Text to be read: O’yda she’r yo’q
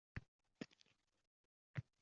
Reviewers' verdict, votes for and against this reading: rejected, 0, 2